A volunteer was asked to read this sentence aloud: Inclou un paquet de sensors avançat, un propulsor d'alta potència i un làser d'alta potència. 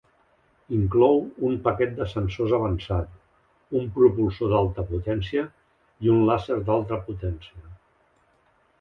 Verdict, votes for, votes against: accepted, 5, 1